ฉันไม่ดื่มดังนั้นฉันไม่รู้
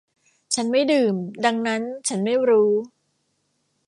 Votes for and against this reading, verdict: 2, 0, accepted